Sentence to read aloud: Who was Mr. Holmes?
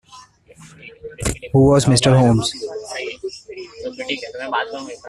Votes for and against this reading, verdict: 1, 2, rejected